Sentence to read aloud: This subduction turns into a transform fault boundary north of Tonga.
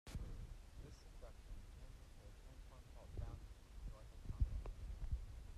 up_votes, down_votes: 0, 2